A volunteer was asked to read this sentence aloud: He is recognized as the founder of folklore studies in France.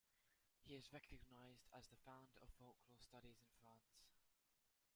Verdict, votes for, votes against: rejected, 0, 2